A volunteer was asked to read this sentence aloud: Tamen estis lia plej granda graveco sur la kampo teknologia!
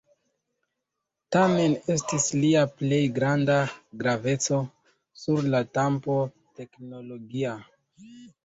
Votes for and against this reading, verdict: 0, 2, rejected